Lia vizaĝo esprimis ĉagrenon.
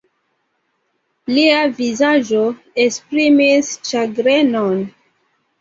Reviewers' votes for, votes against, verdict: 3, 2, accepted